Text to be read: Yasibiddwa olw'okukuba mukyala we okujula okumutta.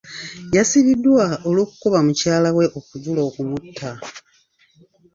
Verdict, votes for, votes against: accepted, 2, 0